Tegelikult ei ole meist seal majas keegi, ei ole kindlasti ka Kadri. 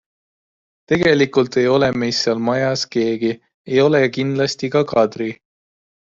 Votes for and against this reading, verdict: 2, 0, accepted